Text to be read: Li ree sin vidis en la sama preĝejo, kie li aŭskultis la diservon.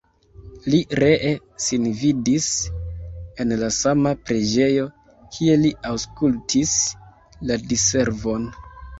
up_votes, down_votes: 0, 2